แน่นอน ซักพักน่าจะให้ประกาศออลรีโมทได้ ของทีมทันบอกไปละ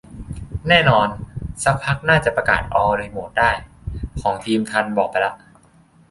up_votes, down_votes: 1, 2